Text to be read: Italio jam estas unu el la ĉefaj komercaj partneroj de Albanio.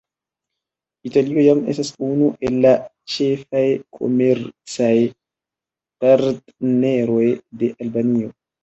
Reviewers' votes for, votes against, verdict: 2, 0, accepted